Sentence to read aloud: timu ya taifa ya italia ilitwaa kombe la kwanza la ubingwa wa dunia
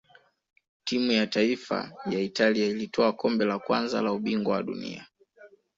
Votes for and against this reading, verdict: 2, 0, accepted